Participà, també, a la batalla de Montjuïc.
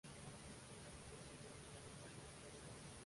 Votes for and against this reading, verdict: 1, 2, rejected